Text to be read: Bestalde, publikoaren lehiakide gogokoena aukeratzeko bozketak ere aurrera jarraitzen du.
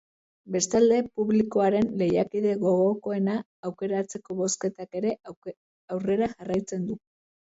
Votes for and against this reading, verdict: 1, 2, rejected